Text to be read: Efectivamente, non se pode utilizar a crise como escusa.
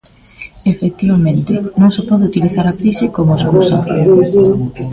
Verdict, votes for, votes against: rejected, 1, 2